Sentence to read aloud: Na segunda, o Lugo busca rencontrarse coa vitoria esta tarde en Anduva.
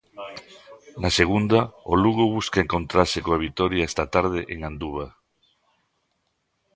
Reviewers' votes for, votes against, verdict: 0, 2, rejected